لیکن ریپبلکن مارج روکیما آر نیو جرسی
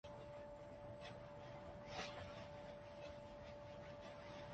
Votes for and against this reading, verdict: 1, 2, rejected